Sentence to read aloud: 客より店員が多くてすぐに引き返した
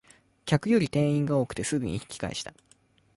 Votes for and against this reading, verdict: 2, 0, accepted